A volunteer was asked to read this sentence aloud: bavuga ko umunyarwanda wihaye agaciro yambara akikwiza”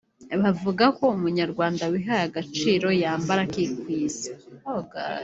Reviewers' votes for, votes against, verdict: 1, 2, rejected